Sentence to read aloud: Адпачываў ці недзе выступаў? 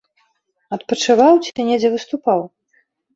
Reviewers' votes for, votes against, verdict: 0, 2, rejected